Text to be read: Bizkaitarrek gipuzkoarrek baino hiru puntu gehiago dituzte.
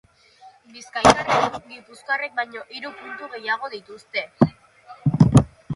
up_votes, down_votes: 0, 2